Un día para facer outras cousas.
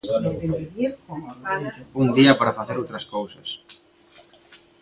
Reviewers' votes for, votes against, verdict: 0, 2, rejected